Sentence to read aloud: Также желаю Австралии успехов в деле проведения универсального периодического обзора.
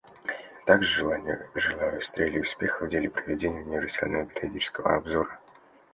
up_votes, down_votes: 0, 2